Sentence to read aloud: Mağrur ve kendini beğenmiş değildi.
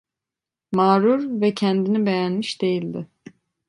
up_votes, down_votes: 2, 0